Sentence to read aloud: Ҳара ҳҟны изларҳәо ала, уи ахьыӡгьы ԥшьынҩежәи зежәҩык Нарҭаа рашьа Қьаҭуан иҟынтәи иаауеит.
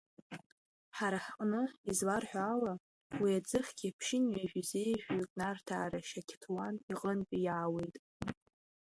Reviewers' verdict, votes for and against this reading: rejected, 0, 2